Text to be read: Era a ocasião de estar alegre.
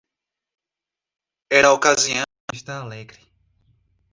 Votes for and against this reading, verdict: 0, 2, rejected